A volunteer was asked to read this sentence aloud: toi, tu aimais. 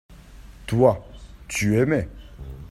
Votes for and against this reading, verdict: 2, 0, accepted